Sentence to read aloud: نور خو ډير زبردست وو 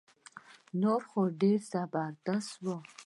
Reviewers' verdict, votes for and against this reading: accepted, 2, 0